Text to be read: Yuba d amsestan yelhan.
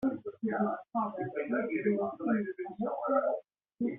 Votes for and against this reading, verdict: 0, 2, rejected